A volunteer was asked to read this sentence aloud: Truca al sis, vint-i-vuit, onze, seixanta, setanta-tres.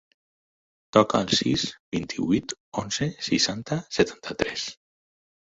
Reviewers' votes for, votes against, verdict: 0, 4, rejected